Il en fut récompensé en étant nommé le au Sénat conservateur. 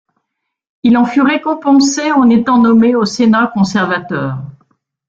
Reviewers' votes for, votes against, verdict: 1, 2, rejected